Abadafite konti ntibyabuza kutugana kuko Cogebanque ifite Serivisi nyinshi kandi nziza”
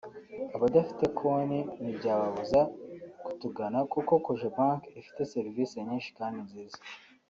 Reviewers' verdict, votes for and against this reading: accepted, 2, 0